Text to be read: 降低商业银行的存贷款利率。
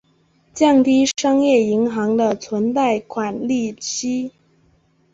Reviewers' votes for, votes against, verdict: 2, 3, rejected